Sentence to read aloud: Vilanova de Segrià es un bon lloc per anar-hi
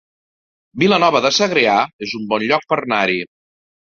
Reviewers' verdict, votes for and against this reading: accepted, 2, 1